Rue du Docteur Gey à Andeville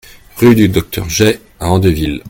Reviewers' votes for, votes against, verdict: 2, 0, accepted